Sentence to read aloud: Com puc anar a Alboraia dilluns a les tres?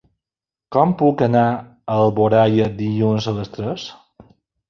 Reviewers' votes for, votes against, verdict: 2, 0, accepted